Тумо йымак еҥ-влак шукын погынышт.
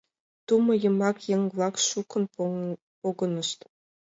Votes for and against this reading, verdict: 1, 2, rejected